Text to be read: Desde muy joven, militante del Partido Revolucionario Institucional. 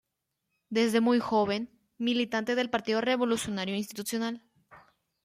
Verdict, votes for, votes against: accepted, 2, 1